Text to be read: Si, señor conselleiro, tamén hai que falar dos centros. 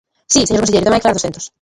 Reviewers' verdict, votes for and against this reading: rejected, 0, 2